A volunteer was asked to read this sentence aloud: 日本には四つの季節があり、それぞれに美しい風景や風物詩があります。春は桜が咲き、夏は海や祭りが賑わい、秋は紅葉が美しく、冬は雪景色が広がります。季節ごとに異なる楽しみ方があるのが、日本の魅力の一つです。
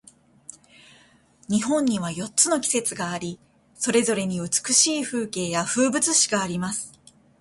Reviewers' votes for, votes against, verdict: 0, 2, rejected